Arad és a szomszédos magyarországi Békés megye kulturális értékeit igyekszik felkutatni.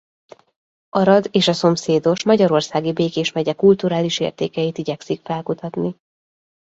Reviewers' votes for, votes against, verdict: 2, 0, accepted